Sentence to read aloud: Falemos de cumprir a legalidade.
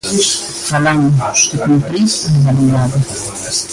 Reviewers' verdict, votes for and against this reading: rejected, 0, 2